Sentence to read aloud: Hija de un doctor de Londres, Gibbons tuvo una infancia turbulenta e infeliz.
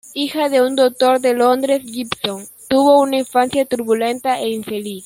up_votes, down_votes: 0, 2